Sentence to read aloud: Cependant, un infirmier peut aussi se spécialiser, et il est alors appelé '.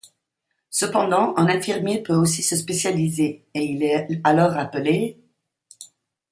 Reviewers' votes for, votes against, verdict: 2, 1, accepted